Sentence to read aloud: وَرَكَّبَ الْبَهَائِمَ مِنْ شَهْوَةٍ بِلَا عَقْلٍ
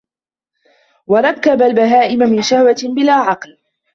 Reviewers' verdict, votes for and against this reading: rejected, 1, 2